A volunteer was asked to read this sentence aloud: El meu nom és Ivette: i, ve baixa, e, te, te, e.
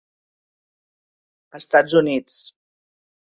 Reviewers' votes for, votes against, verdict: 0, 2, rejected